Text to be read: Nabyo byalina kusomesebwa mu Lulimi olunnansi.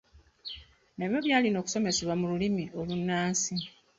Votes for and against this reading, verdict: 1, 2, rejected